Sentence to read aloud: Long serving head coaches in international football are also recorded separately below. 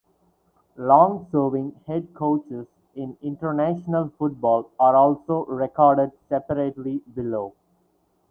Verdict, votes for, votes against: rejected, 2, 4